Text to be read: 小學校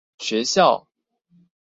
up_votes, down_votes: 0, 2